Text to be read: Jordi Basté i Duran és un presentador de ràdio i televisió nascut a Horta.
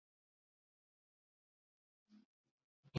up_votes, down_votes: 0, 2